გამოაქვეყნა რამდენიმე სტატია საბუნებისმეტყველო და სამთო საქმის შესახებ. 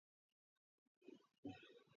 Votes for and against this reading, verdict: 0, 3, rejected